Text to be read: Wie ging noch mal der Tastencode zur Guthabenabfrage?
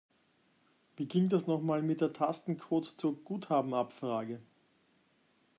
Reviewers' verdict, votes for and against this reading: rejected, 0, 2